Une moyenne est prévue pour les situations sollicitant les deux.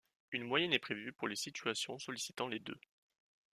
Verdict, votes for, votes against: accepted, 2, 0